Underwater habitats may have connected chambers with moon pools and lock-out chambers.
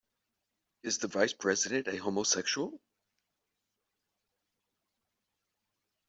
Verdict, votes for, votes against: rejected, 0, 2